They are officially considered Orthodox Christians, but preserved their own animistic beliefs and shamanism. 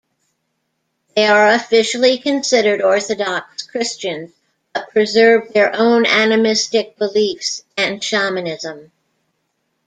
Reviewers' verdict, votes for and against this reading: accepted, 2, 0